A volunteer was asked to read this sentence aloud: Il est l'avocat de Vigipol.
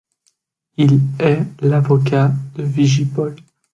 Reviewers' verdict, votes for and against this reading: accepted, 2, 0